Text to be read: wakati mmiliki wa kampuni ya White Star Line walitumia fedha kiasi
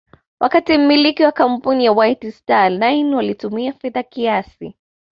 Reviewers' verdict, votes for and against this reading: accepted, 2, 0